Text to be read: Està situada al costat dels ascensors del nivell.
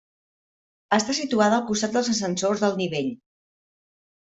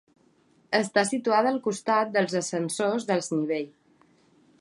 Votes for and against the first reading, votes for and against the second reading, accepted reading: 3, 0, 0, 3, first